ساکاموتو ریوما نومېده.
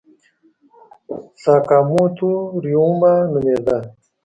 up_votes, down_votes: 0, 2